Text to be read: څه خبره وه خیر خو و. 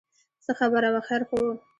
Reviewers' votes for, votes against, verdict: 2, 1, accepted